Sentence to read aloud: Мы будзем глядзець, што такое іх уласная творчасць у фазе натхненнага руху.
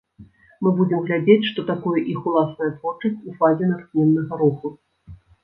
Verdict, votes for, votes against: rejected, 1, 2